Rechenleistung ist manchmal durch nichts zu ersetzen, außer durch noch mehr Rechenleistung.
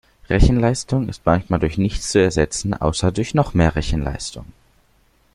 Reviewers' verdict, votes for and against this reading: accepted, 2, 0